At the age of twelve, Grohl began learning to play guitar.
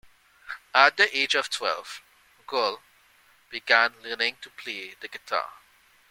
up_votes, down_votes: 0, 2